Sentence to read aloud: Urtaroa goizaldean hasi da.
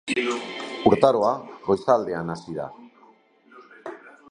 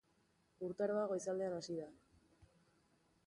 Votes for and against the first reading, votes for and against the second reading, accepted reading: 1, 2, 3, 1, second